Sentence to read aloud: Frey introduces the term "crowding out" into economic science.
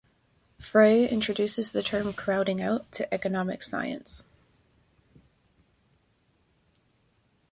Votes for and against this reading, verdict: 1, 2, rejected